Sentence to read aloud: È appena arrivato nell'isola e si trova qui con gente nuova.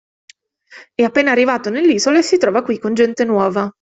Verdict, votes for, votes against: accepted, 2, 0